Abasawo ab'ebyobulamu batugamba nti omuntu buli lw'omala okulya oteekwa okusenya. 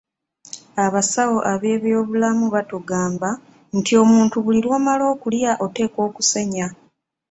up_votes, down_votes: 2, 0